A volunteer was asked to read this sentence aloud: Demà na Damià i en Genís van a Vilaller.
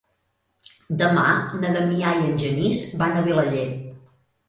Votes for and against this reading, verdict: 3, 0, accepted